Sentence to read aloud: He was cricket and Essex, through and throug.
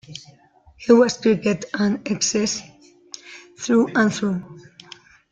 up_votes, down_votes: 0, 2